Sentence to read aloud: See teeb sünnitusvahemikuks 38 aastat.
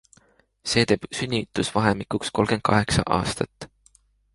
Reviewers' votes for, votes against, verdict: 0, 2, rejected